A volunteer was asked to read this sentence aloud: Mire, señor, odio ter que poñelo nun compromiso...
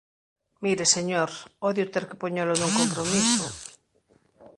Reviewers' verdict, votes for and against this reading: accepted, 2, 0